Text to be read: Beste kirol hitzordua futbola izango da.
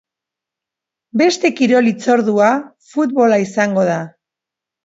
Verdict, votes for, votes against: accepted, 2, 0